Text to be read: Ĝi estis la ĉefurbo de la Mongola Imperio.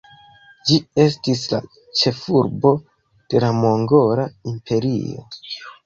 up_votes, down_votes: 1, 2